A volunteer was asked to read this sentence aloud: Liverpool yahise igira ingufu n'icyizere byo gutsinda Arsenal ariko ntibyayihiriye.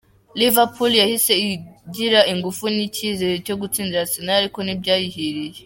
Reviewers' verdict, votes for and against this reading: accepted, 2, 0